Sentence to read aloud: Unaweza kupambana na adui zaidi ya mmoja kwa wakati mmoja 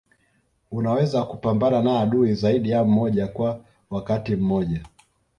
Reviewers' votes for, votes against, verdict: 2, 0, accepted